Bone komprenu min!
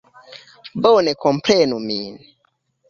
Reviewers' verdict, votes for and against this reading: accepted, 2, 0